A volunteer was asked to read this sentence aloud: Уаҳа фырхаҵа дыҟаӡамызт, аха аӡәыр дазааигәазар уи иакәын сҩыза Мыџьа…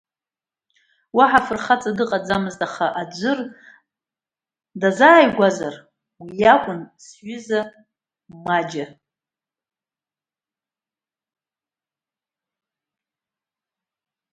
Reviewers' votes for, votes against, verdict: 1, 2, rejected